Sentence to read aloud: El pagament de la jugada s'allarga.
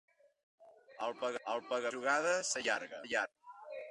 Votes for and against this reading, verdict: 1, 2, rejected